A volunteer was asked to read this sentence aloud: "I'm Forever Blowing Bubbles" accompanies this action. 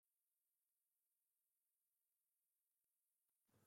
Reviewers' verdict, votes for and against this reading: rejected, 0, 2